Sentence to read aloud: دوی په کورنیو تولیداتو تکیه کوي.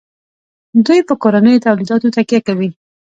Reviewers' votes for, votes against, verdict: 2, 0, accepted